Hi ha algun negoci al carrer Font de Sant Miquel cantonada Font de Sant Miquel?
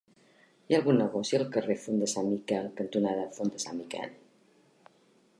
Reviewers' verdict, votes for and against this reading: rejected, 0, 2